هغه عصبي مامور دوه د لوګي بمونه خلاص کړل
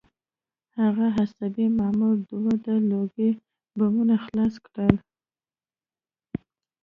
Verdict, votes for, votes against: rejected, 0, 2